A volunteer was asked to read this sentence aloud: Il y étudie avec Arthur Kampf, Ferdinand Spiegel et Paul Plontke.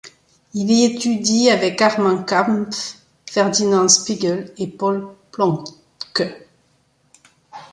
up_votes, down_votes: 0, 2